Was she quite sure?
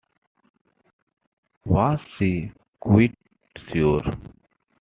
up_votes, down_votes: 2, 1